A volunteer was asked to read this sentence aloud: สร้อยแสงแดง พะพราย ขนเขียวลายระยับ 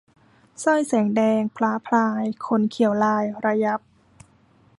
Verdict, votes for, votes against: rejected, 1, 2